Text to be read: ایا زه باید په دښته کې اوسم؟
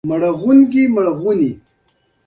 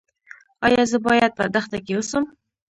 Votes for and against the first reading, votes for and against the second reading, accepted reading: 2, 1, 1, 2, first